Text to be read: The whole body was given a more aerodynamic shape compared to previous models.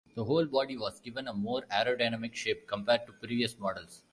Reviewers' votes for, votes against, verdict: 1, 2, rejected